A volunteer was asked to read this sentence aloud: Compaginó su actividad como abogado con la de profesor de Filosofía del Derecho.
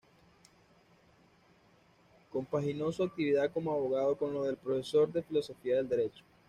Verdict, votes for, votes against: rejected, 1, 2